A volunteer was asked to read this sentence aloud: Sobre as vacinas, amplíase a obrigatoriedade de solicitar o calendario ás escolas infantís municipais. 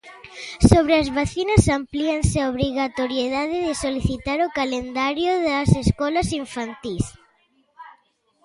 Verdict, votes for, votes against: rejected, 0, 2